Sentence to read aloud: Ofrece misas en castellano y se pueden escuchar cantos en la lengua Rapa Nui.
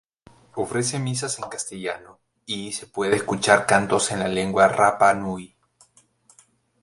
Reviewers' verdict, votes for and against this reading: rejected, 0, 2